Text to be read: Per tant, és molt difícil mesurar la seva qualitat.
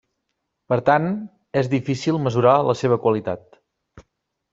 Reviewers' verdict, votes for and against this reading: rejected, 0, 2